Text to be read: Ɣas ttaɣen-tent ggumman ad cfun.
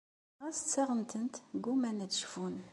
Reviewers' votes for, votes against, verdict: 2, 0, accepted